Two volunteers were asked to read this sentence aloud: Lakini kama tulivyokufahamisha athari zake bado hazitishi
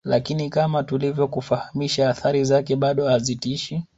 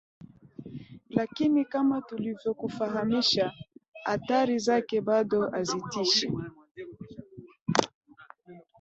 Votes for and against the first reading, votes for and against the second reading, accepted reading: 2, 1, 2, 3, first